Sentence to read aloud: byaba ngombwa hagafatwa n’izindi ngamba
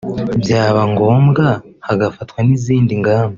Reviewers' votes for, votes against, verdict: 2, 0, accepted